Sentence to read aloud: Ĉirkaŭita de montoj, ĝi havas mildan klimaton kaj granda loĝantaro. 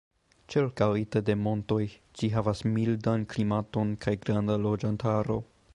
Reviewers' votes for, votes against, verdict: 2, 0, accepted